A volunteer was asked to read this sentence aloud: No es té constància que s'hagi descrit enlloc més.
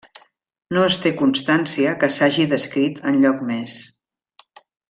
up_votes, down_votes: 3, 0